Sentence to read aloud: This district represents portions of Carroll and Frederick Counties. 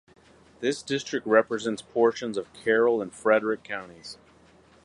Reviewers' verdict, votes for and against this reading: accepted, 4, 0